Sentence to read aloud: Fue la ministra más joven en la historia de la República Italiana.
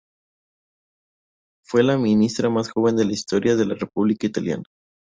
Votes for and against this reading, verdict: 2, 2, rejected